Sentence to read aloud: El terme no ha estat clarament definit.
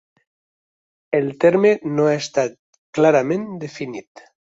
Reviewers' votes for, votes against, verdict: 2, 0, accepted